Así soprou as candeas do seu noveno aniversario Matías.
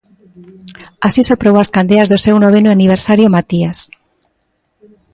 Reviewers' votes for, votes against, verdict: 2, 0, accepted